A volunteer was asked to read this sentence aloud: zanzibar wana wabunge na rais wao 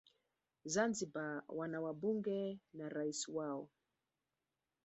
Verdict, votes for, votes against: accepted, 3, 0